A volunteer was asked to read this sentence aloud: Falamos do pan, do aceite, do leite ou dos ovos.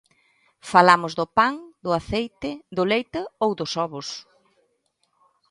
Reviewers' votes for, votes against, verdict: 2, 0, accepted